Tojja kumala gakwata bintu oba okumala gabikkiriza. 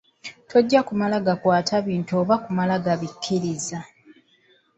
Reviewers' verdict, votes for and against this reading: rejected, 0, 2